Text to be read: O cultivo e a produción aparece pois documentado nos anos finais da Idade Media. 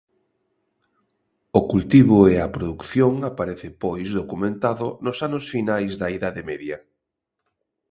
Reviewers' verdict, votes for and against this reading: rejected, 0, 2